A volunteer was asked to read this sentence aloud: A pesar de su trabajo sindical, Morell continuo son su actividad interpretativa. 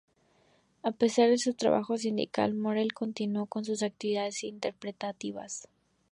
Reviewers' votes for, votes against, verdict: 2, 0, accepted